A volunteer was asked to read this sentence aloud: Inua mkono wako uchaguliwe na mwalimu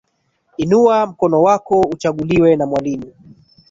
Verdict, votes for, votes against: accepted, 7, 2